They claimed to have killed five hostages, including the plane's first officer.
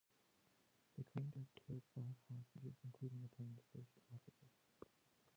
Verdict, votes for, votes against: rejected, 0, 2